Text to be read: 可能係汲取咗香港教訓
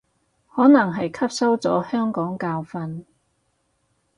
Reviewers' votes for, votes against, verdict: 0, 4, rejected